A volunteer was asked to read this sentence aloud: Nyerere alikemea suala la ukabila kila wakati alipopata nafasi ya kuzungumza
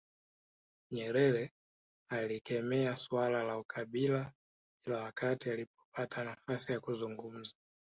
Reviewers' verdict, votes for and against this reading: accepted, 2, 1